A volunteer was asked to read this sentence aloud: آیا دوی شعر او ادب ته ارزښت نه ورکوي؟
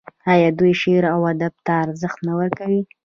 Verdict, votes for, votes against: accepted, 2, 0